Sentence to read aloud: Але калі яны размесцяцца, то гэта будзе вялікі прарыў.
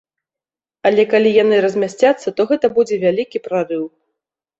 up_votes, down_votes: 0, 2